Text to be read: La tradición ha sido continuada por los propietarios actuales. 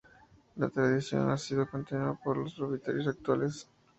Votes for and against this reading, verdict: 4, 0, accepted